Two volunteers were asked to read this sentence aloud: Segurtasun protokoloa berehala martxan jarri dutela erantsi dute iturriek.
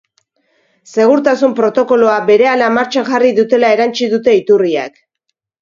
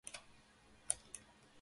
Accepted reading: first